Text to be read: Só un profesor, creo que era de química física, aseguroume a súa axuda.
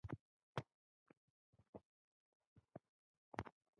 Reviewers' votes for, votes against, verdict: 0, 2, rejected